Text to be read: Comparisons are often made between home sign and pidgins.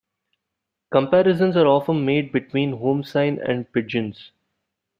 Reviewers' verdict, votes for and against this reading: accepted, 2, 1